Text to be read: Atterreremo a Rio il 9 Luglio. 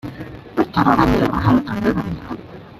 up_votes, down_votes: 0, 2